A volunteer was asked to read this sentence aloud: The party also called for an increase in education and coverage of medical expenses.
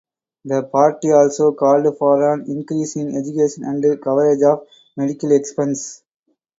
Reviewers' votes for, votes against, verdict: 0, 4, rejected